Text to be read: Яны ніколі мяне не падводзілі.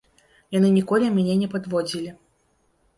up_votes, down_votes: 2, 0